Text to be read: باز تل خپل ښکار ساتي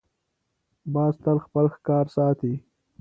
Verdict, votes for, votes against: accepted, 2, 0